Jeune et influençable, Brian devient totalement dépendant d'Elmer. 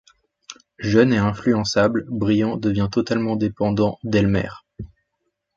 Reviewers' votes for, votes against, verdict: 1, 2, rejected